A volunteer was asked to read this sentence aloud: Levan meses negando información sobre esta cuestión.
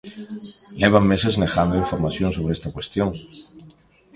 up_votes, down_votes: 0, 2